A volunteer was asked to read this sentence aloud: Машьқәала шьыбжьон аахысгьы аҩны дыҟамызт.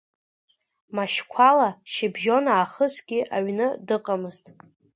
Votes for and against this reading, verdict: 2, 0, accepted